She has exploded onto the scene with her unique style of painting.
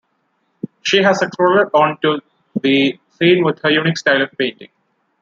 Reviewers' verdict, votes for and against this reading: accepted, 2, 0